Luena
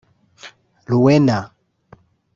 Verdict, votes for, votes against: rejected, 0, 2